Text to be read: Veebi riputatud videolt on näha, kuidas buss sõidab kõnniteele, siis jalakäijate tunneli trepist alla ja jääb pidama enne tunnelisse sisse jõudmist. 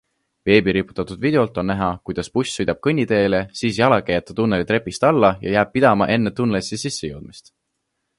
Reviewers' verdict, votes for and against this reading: accepted, 2, 0